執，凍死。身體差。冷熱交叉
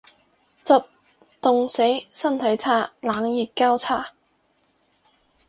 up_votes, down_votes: 2, 0